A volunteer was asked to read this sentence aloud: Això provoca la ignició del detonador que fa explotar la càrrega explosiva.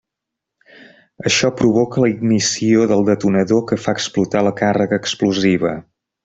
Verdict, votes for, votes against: accepted, 3, 0